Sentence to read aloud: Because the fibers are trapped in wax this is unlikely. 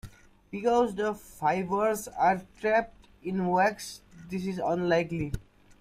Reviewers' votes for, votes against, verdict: 3, 2, accepted